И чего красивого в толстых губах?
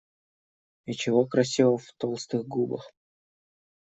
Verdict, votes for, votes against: rejected, 1, 2